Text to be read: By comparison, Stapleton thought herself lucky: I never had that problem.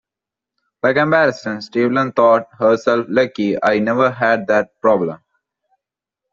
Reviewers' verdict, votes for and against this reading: accepted, 2, 1